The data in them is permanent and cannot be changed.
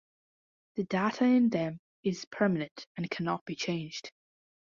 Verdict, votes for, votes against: accepted, 2, 0